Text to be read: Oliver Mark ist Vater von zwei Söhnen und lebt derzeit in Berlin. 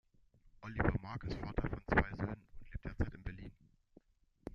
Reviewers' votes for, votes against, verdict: 0, 2, rejected